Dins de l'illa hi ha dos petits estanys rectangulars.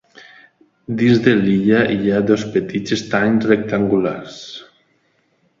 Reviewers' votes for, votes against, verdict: 2, 0, accepted